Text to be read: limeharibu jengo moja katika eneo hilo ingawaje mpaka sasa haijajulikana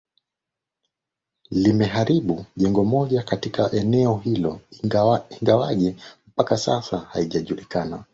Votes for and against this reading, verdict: 0, 2, rejected